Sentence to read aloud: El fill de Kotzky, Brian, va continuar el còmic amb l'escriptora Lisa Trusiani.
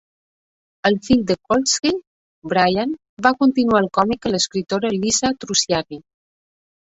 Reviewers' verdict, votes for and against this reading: rejected, 0, 2